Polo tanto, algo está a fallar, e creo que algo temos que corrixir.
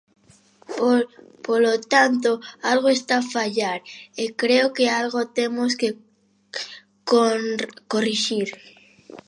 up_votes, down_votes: 0, 2